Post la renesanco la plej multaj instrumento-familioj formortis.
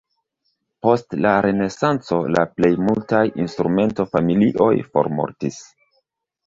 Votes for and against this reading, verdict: 2, 0, accepted